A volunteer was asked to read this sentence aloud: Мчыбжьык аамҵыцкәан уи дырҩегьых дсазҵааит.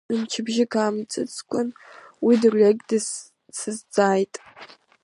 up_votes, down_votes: 1, 2